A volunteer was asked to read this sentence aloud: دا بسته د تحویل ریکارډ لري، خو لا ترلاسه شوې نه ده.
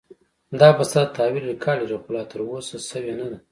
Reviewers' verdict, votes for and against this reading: accepted, 2, 0